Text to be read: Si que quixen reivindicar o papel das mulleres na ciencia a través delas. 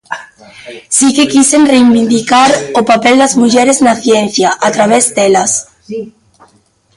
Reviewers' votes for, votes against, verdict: 0, 2, rejected